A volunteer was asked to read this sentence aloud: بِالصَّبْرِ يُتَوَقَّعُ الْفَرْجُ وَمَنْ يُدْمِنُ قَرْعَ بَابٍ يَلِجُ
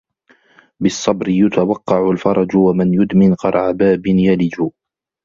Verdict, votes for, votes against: accepted, 2, 0